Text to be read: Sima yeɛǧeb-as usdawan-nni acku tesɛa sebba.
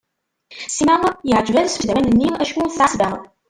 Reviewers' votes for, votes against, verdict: 0, 2, rejected